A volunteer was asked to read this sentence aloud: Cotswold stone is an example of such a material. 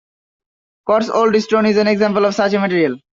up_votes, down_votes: 2, 1